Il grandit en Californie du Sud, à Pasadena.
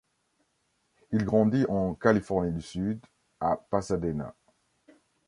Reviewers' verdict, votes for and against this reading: accepted, 2, 0